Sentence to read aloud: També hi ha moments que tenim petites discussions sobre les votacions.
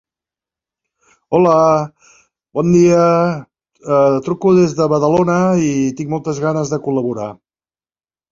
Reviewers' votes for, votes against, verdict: 0, 2, rejected